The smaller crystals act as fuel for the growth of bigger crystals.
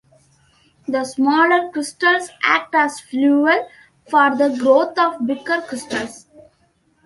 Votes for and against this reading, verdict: 2, 1, accepted